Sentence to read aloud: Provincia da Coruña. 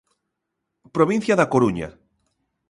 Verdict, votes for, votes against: accepted, 2, 0